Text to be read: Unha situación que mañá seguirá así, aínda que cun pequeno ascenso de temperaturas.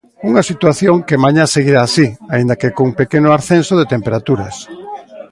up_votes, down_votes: 2, 1